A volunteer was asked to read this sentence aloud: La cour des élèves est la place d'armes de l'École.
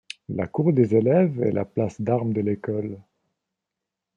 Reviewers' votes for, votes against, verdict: 2, 0, accepted